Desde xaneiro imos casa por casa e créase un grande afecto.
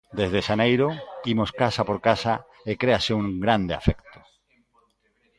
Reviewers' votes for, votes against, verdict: 1, 2, rejected